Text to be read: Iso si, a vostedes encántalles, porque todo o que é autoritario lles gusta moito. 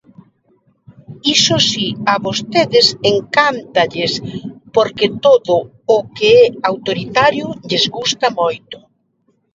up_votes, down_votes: 1, 2